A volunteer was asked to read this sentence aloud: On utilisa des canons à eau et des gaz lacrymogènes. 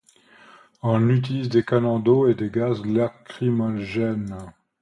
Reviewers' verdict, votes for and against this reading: rejected, 0, 2